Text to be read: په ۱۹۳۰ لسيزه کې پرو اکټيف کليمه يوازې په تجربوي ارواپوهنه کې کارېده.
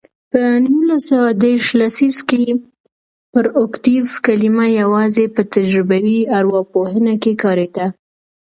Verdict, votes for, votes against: rejected, 0, 2